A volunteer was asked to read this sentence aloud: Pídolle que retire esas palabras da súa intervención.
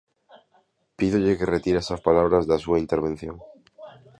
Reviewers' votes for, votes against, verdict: 2, 0, accepted